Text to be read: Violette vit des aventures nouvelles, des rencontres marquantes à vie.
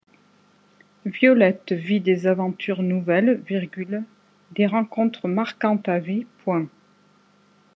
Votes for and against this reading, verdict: 1, 2, rejected